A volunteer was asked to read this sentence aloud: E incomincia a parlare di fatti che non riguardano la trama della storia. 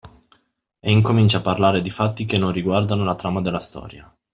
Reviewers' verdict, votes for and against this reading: accepted, 2, 0